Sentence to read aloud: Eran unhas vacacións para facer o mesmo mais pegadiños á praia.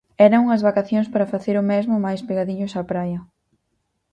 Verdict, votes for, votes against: accepted, 4, 0